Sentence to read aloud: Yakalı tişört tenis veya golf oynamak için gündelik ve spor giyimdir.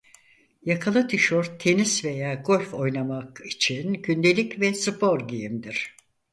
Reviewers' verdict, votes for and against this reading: accepted, 4, 0